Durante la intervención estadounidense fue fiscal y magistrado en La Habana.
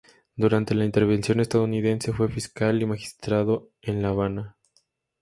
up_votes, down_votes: 2, 0